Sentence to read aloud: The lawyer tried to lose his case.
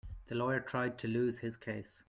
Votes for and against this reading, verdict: 2, 0, accepted